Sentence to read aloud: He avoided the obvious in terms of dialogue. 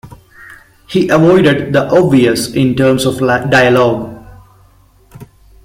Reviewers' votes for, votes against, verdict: 1, 2, rejected